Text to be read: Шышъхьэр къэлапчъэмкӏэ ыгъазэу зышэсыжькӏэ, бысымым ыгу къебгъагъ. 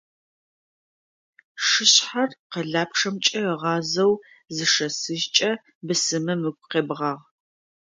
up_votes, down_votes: 2, 0